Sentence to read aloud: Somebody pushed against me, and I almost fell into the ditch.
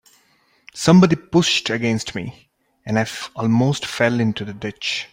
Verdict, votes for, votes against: rejected, 1, 2